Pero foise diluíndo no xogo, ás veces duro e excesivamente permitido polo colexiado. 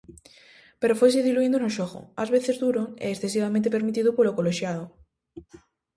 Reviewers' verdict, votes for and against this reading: accepted, 2, 0